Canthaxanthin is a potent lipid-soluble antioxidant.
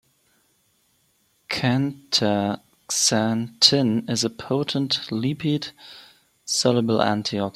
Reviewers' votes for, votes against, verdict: 0, 2, rejected